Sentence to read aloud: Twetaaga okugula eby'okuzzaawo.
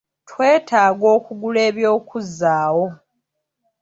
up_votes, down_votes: 2, 1